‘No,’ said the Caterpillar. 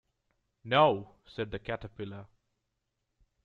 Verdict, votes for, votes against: accepted, 2, 0